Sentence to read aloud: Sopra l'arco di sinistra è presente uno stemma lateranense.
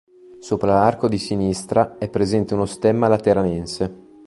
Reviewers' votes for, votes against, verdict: 2, 0, accepted